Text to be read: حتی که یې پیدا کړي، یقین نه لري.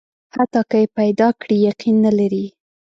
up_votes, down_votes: 2, 0